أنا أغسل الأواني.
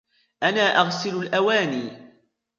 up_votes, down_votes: 2, 1